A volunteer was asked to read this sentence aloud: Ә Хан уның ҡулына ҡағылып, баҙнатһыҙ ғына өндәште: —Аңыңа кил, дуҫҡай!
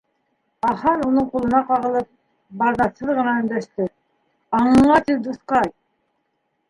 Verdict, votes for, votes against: rejected, 1, 2